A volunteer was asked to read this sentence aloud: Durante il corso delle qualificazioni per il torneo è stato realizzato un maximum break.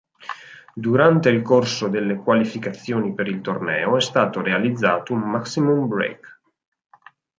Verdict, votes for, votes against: accepted, 6, 0